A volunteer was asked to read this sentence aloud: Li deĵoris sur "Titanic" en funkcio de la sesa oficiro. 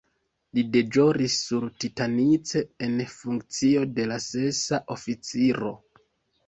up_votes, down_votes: 2, 0